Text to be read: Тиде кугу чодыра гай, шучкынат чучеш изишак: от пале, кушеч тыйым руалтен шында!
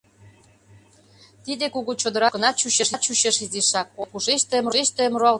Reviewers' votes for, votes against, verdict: 0, 2, rejected